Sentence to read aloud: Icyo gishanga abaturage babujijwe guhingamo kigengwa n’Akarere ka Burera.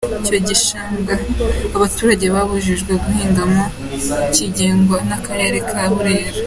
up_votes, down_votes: 3, 0